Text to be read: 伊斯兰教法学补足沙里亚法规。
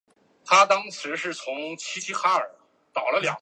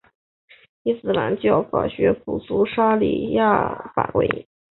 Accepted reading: second